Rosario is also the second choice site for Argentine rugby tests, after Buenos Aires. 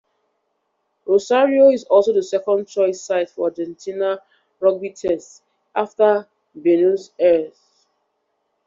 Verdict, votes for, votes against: rejected, 1, 2